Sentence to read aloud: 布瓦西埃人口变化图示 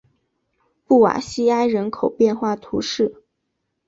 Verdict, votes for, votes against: accepted, 2, 0